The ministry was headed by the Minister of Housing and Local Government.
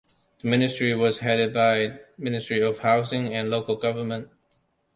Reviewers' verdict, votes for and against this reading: rejected, 0, 2